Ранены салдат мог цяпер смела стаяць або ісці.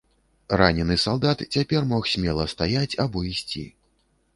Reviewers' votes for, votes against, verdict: 1, 2, rejected